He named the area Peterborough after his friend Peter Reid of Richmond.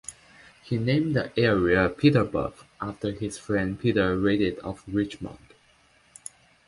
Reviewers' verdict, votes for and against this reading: accepted, 2, 1